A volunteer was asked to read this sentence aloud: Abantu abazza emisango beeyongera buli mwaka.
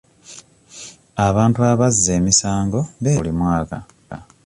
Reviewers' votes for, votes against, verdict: 1, 2, rejected